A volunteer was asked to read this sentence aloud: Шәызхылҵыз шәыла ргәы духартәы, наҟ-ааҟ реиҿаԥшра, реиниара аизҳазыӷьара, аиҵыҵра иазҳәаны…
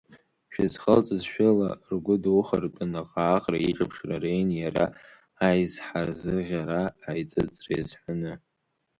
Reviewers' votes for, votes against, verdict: 1, 2, rejected